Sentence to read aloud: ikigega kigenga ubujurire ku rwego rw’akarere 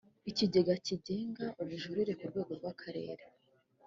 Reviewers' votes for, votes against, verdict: 2, 0, accepted